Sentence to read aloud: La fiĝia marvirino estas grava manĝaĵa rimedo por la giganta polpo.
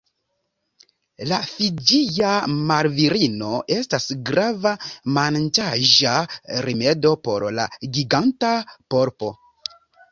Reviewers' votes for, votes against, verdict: 1, 2, rejected